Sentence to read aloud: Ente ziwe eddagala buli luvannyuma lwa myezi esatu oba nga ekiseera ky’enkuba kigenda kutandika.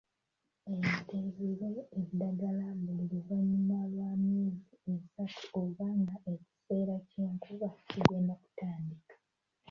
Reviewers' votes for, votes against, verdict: 0, 2, rejected